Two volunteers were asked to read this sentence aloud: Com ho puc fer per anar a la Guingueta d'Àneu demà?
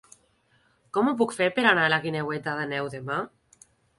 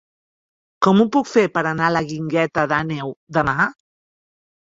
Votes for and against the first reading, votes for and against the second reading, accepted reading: 1, 2, 3, 1, second